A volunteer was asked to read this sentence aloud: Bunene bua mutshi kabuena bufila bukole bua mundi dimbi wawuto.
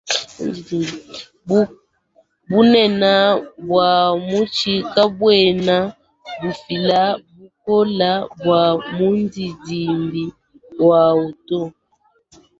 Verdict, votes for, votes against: rejected, 1, 2